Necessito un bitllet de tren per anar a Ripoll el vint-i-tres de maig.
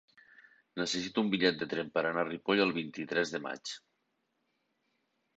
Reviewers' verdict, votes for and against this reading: accepted, 3, 0